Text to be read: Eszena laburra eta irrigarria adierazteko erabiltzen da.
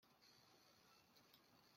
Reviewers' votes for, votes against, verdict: 0, 2, rejected